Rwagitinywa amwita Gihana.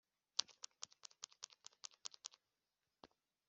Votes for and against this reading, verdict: 0, 3, rejected